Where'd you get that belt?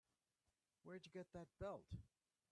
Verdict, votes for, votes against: rejected, 1, 2